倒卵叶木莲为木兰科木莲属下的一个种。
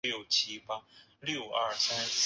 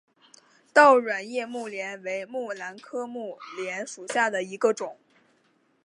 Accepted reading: second